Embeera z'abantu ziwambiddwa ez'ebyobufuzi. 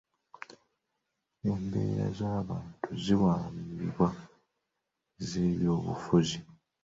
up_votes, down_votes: 1, 2